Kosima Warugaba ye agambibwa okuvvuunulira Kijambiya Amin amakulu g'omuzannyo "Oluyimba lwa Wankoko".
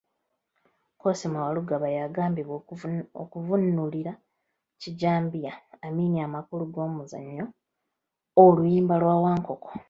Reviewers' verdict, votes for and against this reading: rejected, 0, 2